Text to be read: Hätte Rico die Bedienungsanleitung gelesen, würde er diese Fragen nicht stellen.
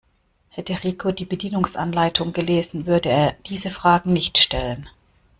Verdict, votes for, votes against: accepted, 2, 0